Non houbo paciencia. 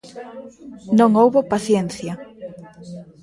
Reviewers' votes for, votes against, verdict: 2, 0, accepted